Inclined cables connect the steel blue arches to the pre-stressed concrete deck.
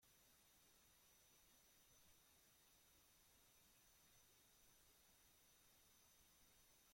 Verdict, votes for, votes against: rejected, 0, 2